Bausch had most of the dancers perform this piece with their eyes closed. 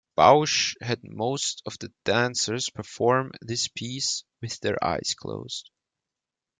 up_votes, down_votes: 2, 0